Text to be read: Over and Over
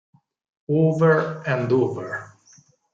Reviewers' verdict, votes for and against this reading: accepted, 4, 0